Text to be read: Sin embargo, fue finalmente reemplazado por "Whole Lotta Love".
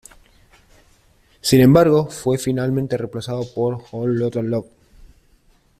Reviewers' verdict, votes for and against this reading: accepted, 2, 1